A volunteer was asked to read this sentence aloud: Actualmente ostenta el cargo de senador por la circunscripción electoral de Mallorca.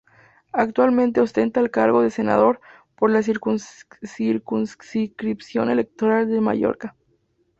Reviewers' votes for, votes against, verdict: 0, 2, rejected